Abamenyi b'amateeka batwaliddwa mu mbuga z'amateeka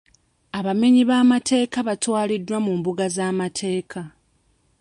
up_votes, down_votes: 2, 0